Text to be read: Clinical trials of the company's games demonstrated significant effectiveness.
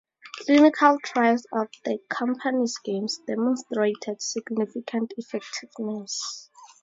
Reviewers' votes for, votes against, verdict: 4, 0, accepted